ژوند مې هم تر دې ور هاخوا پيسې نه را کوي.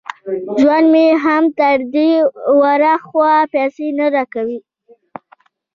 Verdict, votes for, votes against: rejected, 0, 2